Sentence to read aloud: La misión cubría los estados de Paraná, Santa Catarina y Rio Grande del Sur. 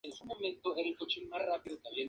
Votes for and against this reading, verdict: 0, 2, rejected